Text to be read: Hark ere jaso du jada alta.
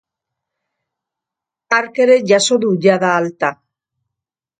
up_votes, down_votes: 2, 0